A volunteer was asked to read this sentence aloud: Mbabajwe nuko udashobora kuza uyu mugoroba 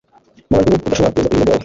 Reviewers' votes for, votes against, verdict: 1, 2, rejected